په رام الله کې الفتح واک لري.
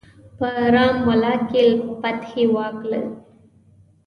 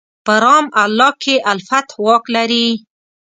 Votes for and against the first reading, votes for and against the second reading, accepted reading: 1, 2, 3, 0, second